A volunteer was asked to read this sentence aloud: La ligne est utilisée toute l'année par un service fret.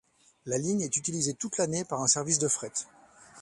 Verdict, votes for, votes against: rejected, 1, 2